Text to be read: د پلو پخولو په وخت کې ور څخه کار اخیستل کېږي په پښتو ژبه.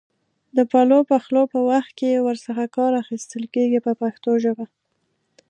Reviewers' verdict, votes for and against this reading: accepted, 2, 0